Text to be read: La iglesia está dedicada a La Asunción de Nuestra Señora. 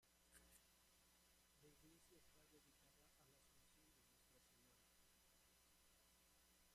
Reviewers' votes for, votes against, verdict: 0, 2, rejected